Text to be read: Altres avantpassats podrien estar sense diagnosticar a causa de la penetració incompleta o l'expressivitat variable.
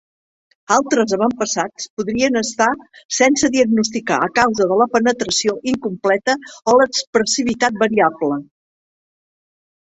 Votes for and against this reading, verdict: 3, 0, accepted